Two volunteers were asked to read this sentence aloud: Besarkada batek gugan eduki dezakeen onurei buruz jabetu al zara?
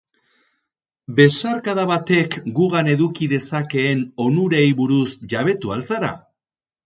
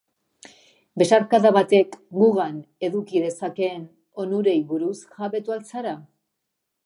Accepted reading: first